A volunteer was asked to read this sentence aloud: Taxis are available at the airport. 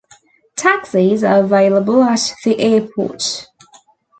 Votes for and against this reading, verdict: 2, 0, accepted